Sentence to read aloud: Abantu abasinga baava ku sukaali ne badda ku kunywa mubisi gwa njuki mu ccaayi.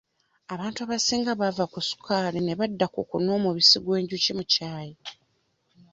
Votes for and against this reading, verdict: 1, 2, rejected